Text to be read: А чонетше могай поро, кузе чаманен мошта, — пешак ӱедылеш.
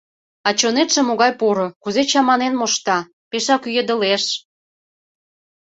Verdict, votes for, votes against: accepted, 2, 0